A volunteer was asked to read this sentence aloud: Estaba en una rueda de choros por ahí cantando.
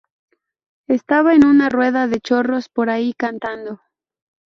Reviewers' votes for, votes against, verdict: 0, 2, rejected